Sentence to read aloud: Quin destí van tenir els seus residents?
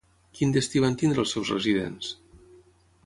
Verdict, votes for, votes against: rejected, 0, 3